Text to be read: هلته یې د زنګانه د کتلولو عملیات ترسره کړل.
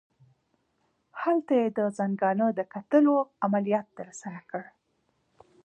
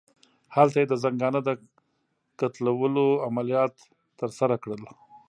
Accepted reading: first